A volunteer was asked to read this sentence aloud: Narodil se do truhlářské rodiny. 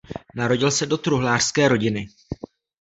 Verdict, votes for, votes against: accepted, 2, 0